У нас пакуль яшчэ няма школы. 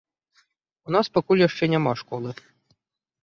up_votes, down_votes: 2, 0